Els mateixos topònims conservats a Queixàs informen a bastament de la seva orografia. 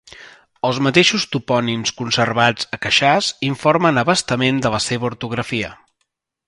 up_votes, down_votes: 1, 2